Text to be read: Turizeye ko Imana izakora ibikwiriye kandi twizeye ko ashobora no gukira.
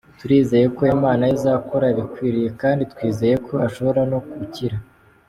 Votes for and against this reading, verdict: 2, 0, accepted